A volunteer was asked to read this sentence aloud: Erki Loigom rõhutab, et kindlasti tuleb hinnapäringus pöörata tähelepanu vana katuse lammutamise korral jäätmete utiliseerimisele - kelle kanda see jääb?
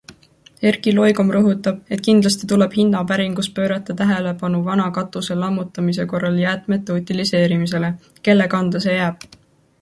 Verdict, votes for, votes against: accepted, 2, 0